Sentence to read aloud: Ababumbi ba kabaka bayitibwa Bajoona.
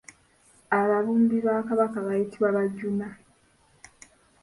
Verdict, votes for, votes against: accepted, 2, 1